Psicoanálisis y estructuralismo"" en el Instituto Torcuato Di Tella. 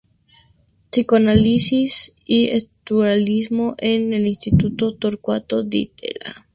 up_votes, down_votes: 0, 2